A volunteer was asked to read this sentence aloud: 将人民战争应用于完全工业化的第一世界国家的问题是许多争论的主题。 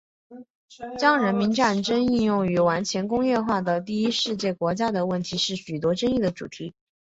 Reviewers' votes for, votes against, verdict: 3, 1, accepted